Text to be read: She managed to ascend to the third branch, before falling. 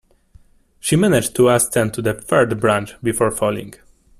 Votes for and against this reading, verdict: 2, 1, accepted